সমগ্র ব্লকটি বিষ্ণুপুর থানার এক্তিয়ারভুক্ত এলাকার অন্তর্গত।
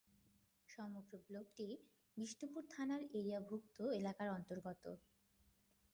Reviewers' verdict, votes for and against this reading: rejected, 0, 3